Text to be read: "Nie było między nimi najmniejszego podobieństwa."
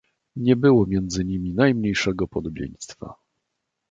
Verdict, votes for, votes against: accepted, 2, 0